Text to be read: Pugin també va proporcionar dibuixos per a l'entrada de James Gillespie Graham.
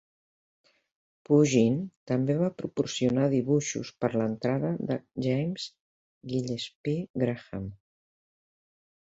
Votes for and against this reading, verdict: 1, 2, rejected